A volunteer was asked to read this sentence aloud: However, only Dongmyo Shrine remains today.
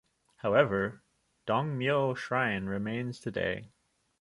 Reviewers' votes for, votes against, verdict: 0, 2, rejected